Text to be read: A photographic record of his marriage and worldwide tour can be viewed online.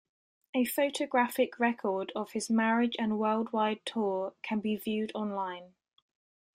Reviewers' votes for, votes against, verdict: 2, 0, accepted